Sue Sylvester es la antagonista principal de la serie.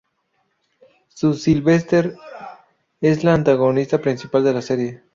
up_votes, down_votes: 2, 4